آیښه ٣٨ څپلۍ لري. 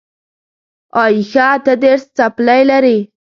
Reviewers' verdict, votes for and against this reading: rejected, 0, 2